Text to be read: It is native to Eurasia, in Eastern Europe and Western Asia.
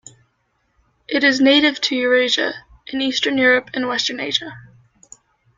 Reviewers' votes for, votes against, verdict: 0, 2, rejected